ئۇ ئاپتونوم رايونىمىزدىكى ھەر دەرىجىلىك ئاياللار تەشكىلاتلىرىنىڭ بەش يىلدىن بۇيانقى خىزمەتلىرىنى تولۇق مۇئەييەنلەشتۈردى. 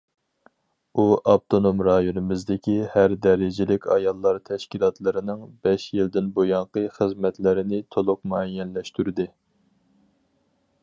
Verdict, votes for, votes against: accepted, 4, 0